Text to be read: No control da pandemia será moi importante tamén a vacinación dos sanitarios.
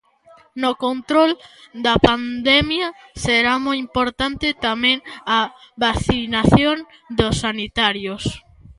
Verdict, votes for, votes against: accepted, 2, 0